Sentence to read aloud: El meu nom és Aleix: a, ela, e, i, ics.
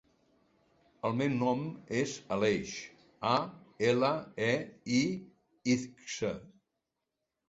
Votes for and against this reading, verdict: 1, 2, rejected